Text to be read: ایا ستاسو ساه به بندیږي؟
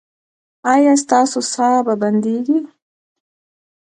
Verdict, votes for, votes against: accepted, 2, 0